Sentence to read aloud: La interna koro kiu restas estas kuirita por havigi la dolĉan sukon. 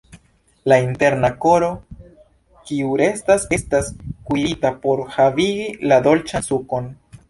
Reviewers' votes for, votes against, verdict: 0, 2, rejected